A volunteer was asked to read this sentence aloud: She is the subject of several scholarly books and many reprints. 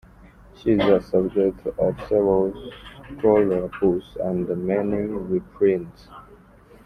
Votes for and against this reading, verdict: 0, 2, rejected